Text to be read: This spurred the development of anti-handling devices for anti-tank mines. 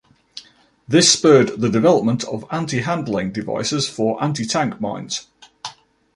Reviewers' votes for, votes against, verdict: 2, 0, accepted